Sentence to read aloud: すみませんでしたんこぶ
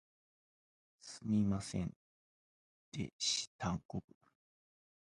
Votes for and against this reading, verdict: 0, 2, rejected